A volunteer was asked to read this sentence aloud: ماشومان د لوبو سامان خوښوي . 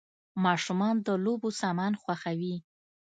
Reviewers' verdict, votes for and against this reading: accepted, 2, 0